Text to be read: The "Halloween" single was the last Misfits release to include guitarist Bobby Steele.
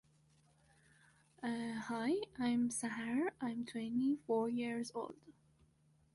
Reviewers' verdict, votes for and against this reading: rejected, 0, 2